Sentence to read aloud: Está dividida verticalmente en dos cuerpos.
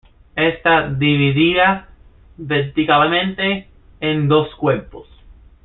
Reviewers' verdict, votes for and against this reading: accepted, 2, 1